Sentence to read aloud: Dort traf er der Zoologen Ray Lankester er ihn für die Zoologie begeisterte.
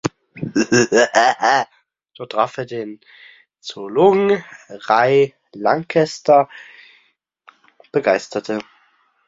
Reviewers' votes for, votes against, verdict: 0, 2, rejected